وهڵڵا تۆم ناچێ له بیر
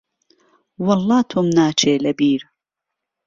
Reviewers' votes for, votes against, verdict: 2, 0, accepted